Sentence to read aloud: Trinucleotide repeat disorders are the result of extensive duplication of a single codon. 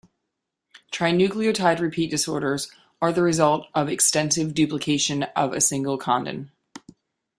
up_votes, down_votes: 1, 2